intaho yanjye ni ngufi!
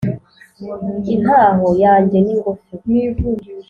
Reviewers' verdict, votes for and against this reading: accepted, 4, 0